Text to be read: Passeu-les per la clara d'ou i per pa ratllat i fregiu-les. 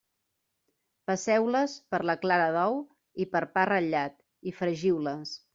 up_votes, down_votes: 2, 0